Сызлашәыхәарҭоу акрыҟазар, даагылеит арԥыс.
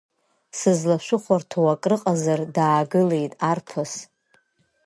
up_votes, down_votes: 2, 0